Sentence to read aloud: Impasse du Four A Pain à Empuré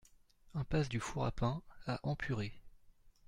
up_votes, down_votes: 2, 0